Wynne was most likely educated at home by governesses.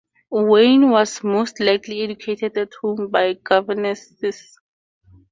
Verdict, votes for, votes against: accepted, 4, 0